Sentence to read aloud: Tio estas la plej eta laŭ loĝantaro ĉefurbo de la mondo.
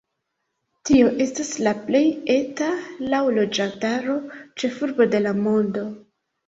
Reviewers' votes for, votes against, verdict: 2, 0, accepted